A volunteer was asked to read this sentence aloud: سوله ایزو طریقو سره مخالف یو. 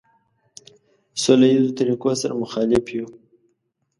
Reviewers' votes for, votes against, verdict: 2, 0, accepted